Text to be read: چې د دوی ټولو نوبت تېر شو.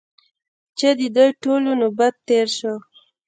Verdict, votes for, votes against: rejected, 0, 2